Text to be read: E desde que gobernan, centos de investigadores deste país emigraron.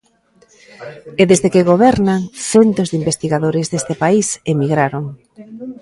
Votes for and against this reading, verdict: 0, 2, rejected